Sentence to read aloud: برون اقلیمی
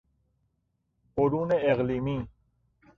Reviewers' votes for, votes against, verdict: 0, 2, rejected